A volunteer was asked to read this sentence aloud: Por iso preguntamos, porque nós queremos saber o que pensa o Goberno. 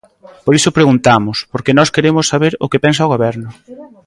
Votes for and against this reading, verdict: 1, 2, rejected